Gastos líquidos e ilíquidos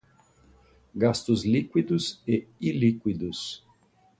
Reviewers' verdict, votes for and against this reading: accepted, 2, 0